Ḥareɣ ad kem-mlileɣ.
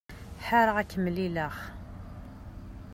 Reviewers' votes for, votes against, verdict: 0, 2, rejected